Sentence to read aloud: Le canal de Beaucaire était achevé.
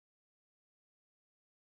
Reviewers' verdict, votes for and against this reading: rejected, 1, 2